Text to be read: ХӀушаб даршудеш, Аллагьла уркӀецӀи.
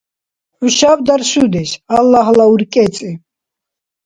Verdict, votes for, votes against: accepted, 2, 0